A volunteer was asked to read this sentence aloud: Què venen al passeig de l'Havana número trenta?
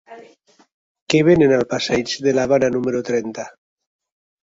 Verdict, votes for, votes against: accepted, 4, 0